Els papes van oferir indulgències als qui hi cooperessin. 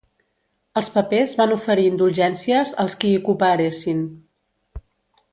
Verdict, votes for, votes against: rejected, 1, 3